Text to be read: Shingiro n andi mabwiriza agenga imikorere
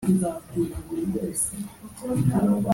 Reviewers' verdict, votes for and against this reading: rejected, 1, 2